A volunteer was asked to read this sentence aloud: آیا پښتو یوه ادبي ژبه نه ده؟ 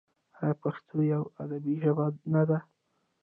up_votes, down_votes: 2, 0